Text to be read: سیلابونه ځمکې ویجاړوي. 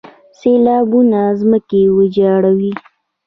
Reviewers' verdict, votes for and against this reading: accepted, 2, 1